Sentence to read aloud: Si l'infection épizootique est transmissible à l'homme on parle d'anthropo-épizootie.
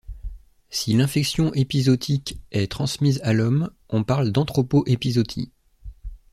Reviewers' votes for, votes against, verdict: 1, 2, rejected